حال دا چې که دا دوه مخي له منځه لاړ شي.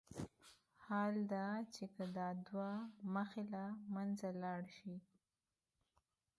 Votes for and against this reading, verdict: 3, 2, accepted